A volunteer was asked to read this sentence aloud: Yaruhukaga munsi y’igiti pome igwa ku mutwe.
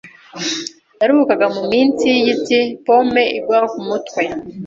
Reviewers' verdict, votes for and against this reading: rejected, 1, 2